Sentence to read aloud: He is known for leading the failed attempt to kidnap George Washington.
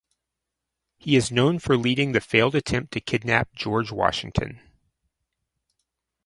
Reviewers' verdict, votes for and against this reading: accepted, 4, 0